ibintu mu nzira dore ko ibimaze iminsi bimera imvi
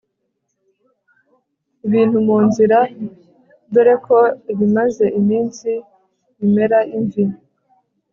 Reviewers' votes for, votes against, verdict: 2, 0, accepted